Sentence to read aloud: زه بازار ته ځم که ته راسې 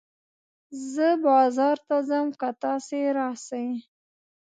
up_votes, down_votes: 1, 2